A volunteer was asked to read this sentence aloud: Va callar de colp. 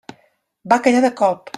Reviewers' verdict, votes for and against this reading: accepted, 2, 0